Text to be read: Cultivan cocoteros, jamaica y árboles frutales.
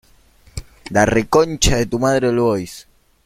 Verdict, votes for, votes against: rejected, 0, 3